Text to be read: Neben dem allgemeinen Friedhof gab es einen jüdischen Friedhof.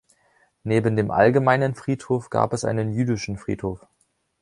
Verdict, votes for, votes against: accepted, 2, 0